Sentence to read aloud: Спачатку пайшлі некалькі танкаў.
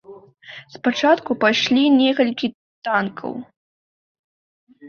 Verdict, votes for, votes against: accepted, 2, 0